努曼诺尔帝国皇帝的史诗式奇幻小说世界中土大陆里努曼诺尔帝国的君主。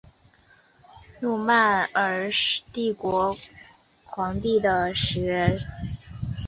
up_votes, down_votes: 0, 4